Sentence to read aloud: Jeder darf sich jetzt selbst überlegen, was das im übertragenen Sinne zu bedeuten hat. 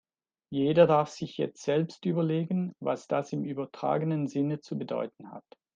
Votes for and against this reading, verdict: 2, 0, accepted